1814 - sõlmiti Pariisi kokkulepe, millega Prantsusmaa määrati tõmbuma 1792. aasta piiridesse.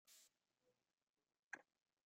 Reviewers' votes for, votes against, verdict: 0, 2, rejected